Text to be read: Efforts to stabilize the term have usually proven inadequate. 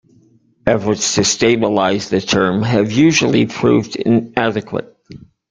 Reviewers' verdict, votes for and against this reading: rejected, 0, 2